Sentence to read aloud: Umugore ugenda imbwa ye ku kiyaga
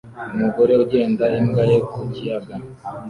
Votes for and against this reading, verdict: 2, 0, accepted